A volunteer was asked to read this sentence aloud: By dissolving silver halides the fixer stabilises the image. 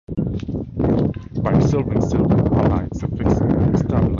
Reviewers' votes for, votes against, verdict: 0, 2, rejected